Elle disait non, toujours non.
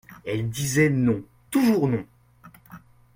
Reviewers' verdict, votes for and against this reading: accepted, 2, 0